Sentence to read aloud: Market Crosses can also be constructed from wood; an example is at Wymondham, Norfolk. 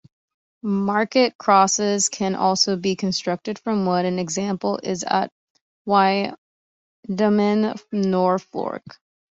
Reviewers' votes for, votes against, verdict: 0, 2, rejected